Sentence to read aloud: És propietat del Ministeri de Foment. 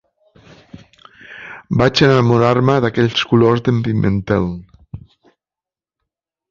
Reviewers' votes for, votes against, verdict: 0, 2, rejected